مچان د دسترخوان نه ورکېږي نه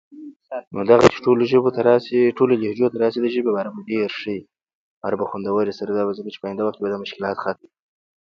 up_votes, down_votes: 0, 2